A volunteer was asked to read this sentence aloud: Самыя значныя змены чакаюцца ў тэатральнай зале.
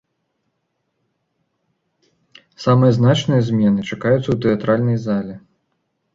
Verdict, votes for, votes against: accepted, 2, 0